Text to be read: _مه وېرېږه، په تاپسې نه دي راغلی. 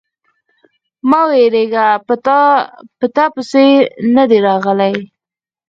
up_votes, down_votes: 0, 4